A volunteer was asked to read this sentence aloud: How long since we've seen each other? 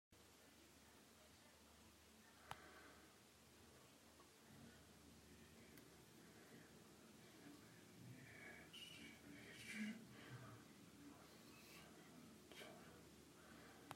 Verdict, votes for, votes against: rejected, 0, 2